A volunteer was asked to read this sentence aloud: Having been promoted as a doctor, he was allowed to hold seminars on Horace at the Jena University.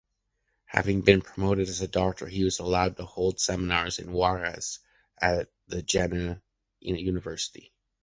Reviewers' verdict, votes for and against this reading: rejected, 1, 2